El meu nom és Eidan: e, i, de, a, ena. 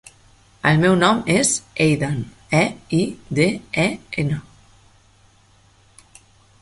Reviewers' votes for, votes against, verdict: 1, 3, rejected